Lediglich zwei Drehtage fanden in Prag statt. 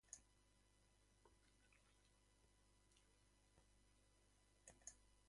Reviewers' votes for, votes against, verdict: 0, 3, rejected